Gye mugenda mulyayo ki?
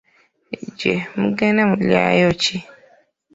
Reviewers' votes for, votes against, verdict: 1, 3, rejected